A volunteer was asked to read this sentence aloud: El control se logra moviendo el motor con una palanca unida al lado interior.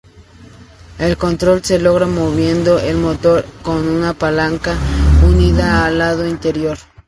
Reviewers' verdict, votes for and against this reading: accepted, 4, 0